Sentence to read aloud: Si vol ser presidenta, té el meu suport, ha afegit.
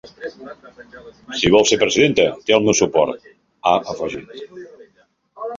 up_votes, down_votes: 0, 2